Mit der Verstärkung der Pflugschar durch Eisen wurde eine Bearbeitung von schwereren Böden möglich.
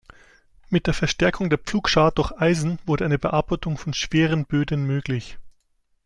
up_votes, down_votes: 1, 2